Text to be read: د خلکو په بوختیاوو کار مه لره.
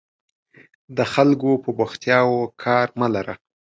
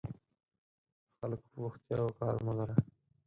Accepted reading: first